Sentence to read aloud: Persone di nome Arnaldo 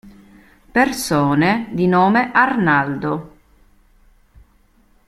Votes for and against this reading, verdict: 2, 0, accepted